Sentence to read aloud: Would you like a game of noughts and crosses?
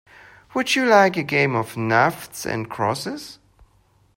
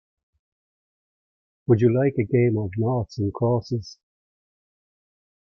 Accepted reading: second